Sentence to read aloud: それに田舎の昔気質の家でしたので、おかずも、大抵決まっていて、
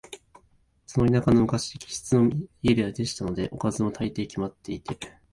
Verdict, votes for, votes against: rejected, 1, 2